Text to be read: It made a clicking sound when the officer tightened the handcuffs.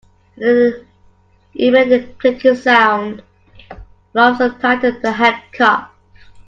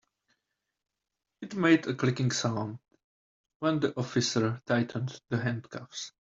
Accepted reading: second